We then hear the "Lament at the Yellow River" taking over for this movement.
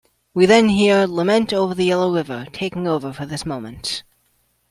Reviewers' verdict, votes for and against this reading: accepted, 2, 0